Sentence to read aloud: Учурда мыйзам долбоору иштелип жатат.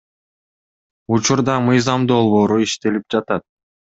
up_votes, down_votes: 2, 0